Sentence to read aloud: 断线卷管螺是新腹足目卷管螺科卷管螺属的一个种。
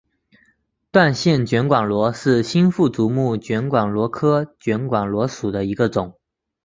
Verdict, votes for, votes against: accepted, 2, 1